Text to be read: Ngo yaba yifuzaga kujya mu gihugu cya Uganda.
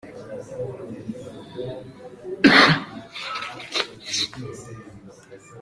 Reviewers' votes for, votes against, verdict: 0, 2, rejected